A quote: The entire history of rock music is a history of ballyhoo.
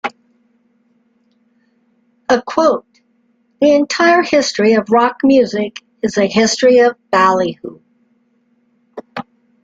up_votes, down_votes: 2, 0